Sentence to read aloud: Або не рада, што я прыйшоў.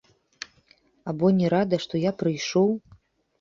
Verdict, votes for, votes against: accepted, 3, 1